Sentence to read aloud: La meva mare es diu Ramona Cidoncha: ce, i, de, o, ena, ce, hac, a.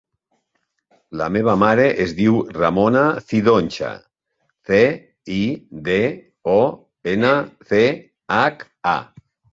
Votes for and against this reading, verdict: 3, 1, accepted